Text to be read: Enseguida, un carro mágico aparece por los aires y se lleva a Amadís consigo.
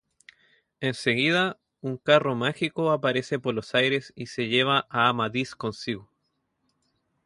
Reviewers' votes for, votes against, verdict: 0, 2, rejected